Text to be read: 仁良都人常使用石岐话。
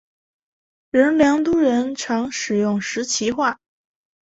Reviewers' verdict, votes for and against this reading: accepted, 2, 1